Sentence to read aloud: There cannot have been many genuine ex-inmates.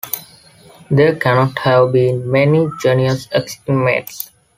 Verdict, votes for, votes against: accepted, 2, 0